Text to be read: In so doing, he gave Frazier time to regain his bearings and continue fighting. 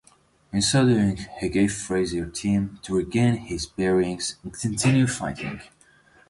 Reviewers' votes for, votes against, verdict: 1, 2, rejected